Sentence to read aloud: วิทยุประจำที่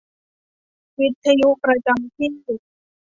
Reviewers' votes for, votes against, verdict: 2, 0, accepted